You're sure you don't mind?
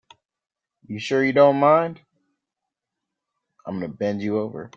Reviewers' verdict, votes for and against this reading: rejected, 1, 2